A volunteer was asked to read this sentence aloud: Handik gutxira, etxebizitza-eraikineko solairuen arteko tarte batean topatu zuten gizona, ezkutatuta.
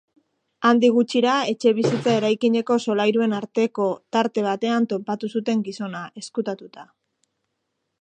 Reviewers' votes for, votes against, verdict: 2, 0, accepted